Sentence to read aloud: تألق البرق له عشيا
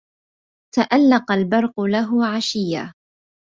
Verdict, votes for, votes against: accepted, 2, 0